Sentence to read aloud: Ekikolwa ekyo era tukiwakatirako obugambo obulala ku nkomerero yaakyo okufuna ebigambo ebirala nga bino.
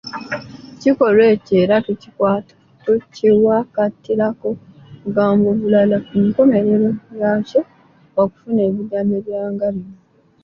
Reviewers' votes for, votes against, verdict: 0, 2, rejected